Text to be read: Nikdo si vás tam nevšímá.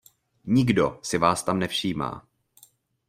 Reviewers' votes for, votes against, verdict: 2, 0, accepted